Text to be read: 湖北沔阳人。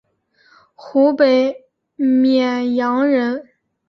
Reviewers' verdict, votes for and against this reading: accepted, 2, 0